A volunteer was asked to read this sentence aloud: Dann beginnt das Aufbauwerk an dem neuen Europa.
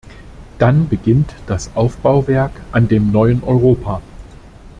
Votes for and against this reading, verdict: 2, 0, accepted